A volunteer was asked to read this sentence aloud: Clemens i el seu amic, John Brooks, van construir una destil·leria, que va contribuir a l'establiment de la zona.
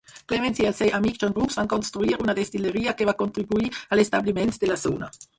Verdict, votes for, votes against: rejected, 2, 4